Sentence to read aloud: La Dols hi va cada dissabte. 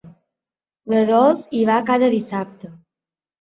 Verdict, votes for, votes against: accepted, 3, 0